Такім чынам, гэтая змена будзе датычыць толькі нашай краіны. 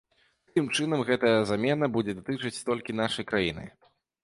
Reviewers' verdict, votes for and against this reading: rejected, 0, 2